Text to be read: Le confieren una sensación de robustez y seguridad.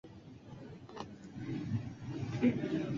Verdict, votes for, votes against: rejected, 0, 2